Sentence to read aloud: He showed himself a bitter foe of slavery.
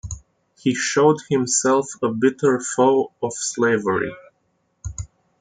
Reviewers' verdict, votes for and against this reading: accepted, 2, 0